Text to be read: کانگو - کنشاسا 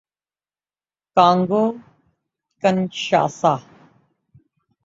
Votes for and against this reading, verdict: 9, 0, accepted